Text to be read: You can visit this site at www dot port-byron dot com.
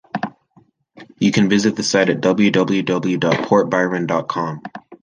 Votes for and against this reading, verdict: 1, 2, rejected